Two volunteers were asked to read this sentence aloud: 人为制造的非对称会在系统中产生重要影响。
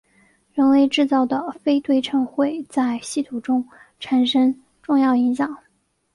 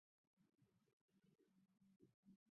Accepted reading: first